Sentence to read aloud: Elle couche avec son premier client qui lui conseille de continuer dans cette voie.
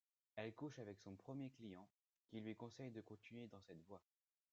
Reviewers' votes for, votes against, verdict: 2, 0, accepted